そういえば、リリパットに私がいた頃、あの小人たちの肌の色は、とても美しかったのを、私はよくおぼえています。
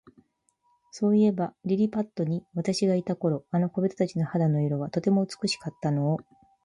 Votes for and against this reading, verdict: 0, 2, rejected